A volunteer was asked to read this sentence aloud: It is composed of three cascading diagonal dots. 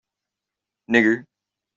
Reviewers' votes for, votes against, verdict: 0, 2, rejected